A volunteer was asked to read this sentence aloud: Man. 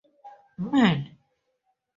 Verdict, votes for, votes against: accepted, 2, 0